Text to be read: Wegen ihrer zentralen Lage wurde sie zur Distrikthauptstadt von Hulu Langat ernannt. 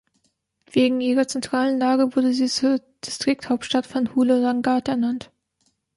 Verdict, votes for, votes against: rejected, 0, 2